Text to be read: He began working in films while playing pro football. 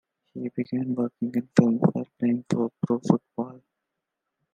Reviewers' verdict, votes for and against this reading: rejected, 1, 2